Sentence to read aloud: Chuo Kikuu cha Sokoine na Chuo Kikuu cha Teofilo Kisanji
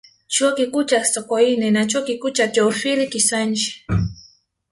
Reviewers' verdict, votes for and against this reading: rejected, 0, 2